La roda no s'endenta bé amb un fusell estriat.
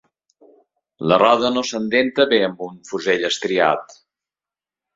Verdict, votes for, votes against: accepted, 3, 0